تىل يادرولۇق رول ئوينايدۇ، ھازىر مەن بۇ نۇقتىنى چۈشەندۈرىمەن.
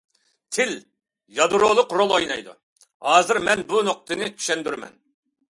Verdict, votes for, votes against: accepted, 2, 0